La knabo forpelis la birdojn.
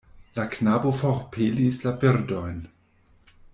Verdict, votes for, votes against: rejected, 1, 2